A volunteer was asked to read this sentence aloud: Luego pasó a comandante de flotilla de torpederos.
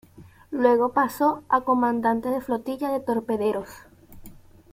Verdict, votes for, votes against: accepted, 2, 0